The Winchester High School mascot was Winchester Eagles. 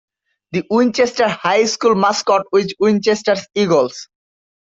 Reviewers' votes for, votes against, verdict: 2, 1, accepted